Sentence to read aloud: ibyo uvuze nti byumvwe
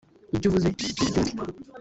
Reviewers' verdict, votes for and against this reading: rejected, 1, 2